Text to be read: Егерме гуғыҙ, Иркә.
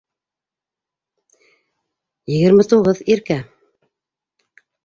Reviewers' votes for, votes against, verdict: 0, 2, rejected